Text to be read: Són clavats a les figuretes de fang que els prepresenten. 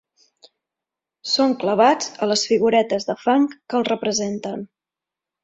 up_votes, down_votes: 2, 3